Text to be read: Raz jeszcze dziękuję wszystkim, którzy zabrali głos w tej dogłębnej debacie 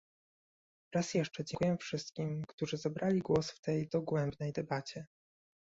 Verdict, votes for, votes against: rejected, 1, 2